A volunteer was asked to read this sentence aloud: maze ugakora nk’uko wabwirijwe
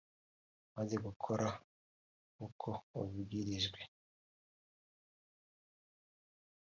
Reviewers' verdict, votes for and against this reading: rejected, 0, 2